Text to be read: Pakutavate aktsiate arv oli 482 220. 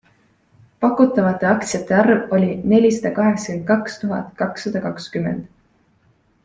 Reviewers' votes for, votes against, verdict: 0, 2, rejected